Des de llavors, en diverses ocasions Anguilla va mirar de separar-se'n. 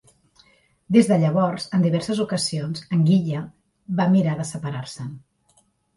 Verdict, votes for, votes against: accepted, 3, 0